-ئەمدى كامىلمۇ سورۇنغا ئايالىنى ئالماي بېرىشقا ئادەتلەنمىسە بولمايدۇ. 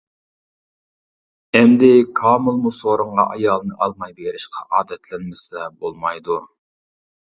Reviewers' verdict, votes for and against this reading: accepted, 2, 0